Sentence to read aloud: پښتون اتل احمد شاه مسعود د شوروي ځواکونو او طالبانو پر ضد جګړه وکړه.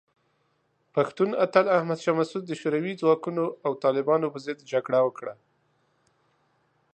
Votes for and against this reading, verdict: 2, 1, accepted